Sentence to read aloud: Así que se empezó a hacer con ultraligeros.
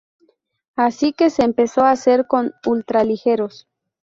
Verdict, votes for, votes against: accepted, 2, 0